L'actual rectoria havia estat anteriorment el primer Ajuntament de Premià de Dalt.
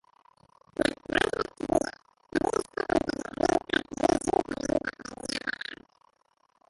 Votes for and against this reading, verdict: 1, 4, rejected